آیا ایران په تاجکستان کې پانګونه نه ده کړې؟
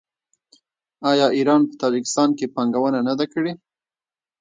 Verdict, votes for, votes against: rejected, 0, 2